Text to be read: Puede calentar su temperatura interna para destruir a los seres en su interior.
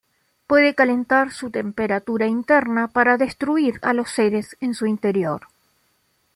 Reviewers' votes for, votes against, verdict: 2, 0, accepted